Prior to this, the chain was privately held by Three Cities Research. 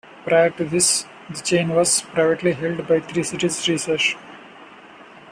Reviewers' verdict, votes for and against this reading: accepted, 2, 0